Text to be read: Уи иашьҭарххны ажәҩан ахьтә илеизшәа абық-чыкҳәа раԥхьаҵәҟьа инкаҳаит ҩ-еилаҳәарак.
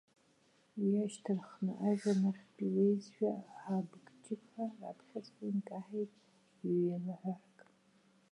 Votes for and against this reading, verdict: 1, 2, rejected